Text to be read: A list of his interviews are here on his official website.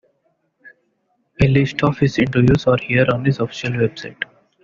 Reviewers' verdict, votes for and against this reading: accepted, 2, 1